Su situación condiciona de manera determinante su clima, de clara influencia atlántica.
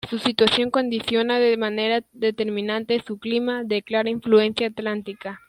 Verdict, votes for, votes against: rejected, 1, 2